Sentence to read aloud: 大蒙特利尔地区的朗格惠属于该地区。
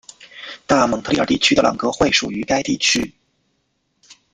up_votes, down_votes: 1, 2